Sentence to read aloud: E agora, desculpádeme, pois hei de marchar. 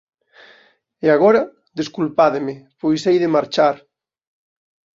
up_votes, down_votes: 2, 0